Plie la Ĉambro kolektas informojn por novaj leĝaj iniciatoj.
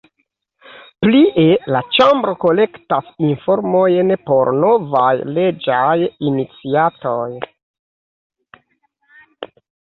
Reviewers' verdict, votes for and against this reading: accepted, 2, 0